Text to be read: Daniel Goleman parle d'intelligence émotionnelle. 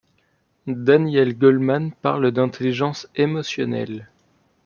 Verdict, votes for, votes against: accepted, 2, 0